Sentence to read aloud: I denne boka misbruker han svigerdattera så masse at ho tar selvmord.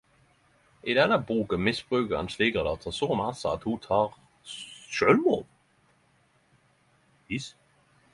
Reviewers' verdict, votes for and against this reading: rejected, 0, 10